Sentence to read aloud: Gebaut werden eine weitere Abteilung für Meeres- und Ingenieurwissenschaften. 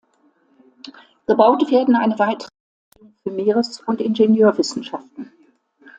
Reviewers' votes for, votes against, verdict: 0, 2, rejected